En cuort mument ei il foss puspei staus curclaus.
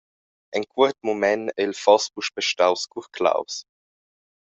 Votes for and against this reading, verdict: 2, 0, accepted